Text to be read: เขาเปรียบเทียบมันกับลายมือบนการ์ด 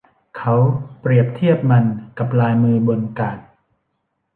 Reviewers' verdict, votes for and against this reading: rejected, 1, 2